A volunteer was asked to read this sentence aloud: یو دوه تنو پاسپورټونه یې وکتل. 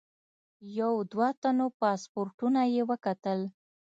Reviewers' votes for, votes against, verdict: 2, 0, accepted